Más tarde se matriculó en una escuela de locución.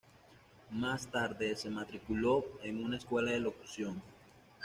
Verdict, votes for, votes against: rejected, 1, 2